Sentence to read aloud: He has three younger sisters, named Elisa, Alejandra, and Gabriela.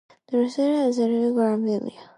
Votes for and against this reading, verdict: 0, 2, rejected